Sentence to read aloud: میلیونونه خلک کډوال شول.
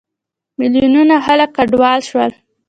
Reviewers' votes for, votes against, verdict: 2, 0, accepted